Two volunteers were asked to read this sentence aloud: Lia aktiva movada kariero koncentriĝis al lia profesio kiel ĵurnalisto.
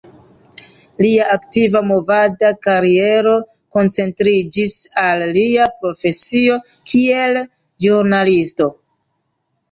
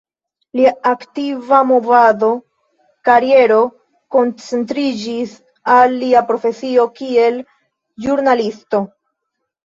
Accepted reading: first